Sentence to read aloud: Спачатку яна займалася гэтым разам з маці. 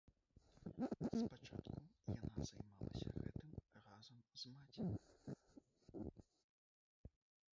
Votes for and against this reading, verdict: 0, 3, rejected